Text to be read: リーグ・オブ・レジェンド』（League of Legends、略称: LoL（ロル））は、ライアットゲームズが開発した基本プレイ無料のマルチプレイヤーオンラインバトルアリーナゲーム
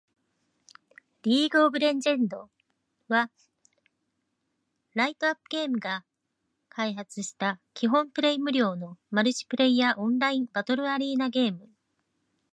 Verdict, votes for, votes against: accepted, 2, 1